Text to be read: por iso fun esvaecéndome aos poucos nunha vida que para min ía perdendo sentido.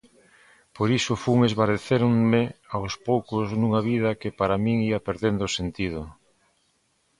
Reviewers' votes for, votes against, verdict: 0, 4, rejected